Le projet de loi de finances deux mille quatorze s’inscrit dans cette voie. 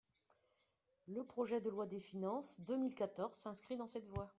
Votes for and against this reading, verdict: 1, 2, rejected